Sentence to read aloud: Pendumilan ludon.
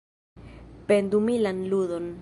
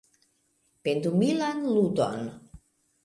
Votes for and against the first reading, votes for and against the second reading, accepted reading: 1, 2, 2, 0, second